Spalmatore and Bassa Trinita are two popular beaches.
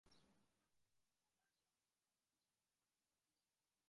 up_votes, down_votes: 0, 2